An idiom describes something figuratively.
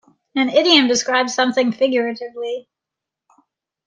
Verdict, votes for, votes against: accepted, 2, 0